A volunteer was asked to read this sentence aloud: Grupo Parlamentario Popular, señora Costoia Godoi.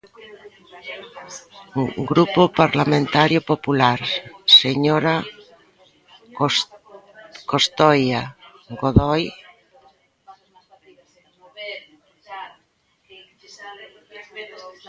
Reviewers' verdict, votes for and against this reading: rejected, 0, 2